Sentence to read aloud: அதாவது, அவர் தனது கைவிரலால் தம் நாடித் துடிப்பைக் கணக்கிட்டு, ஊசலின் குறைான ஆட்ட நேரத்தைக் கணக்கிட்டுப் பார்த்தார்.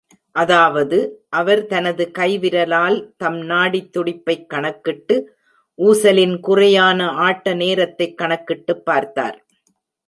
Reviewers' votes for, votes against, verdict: 1, 2, rejected